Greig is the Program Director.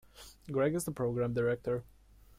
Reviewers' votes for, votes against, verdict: 2, 0, accepted